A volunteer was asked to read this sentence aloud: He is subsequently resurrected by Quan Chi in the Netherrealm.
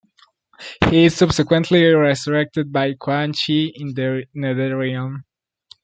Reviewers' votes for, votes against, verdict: 0, 2, rejected